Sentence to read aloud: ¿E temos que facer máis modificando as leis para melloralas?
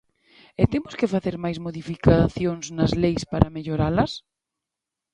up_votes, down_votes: 0, 2